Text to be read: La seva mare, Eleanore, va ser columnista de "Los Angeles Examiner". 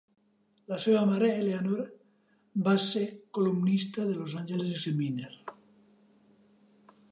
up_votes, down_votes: 1, 2